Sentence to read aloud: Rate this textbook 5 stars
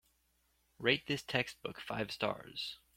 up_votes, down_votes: 0, 2